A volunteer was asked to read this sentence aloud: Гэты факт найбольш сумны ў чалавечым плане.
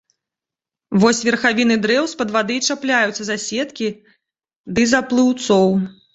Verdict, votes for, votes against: rejected, 0, 2